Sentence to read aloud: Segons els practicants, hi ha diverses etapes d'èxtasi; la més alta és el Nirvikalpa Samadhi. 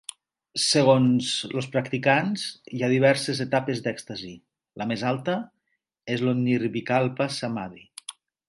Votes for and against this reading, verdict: 0, 2, rejected